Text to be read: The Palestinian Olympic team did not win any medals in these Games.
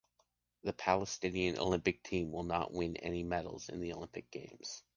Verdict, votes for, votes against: rejected, 0, 2